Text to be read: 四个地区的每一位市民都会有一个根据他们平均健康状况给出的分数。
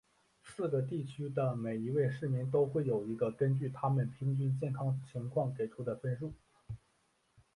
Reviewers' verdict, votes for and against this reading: accepted, 2, 0